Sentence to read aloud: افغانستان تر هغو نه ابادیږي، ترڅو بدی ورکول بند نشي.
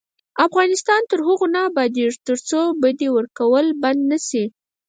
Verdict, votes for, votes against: rejected, 2, 4